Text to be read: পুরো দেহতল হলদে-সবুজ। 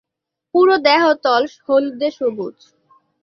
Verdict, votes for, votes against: accepted, 2, 0